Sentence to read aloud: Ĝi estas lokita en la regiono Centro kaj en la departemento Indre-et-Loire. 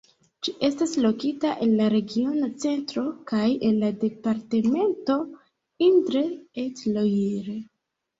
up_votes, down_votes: 1, 2